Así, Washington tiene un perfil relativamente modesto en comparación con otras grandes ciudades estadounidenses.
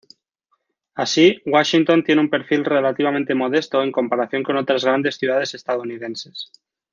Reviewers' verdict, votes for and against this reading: accepted, 2, 0